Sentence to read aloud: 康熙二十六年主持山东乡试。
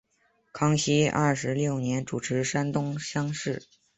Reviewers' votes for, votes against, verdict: 2, 0, accepted